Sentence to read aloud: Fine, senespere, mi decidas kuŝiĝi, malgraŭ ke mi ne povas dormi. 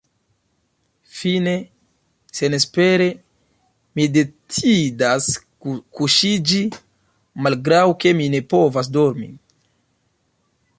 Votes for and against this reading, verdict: 2, 0, accepted